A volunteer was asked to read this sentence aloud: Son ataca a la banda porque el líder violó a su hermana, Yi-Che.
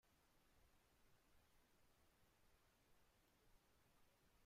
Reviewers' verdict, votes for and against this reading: rejected, 0, 2